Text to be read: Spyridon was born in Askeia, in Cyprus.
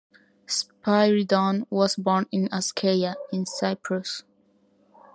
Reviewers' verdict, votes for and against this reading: accepted, 2, 0